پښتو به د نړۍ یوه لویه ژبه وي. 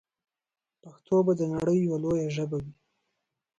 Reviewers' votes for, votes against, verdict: 1, 2, rejected